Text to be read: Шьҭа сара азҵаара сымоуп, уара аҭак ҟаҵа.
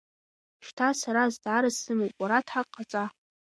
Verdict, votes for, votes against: rejected, 0, 2